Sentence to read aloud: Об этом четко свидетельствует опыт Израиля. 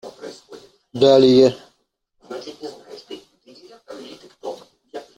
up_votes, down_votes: 0, 2